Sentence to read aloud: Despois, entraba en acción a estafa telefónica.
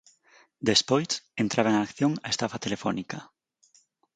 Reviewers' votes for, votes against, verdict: 4, 0, accepted